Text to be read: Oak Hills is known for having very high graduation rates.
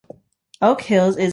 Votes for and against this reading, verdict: 0, 2, rejected